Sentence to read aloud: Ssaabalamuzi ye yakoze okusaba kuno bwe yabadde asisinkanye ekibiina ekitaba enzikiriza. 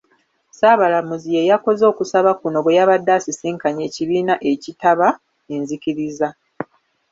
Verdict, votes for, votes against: accepted, 2, 1